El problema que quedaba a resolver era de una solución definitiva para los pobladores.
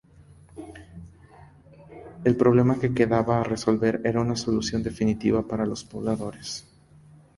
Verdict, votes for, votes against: accepted, 2, 0